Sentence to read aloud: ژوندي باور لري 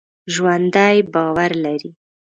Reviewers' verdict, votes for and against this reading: rejected, 1, 2